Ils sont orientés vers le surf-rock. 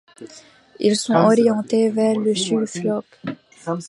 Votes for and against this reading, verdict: 1, 2, rejected